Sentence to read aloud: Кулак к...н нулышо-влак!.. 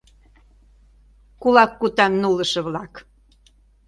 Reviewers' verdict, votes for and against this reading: rejected, 0, 2